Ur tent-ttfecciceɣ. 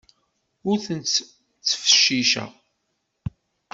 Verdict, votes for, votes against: rejected, 0, 2